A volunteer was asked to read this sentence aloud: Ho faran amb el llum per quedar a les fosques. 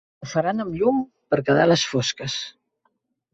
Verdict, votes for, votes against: rejected, 0, 2